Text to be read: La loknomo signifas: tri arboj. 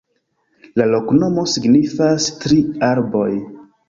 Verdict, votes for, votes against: rejected, 1, 2